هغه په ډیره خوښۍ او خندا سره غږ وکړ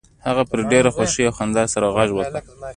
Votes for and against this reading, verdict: 2, 0, accepted